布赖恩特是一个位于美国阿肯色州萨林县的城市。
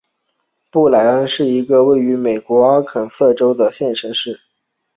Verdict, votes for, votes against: rejected, 2, 6